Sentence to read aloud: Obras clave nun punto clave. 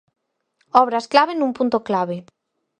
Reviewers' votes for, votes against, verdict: 4, 0, accepted